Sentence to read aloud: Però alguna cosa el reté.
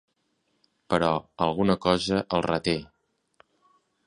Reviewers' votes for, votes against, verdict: 3, 0, accepted